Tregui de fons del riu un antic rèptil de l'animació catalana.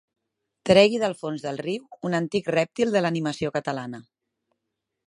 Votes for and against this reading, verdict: 0, 2, rejected